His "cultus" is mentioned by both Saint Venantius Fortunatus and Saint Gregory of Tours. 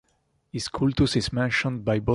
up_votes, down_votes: 0, 2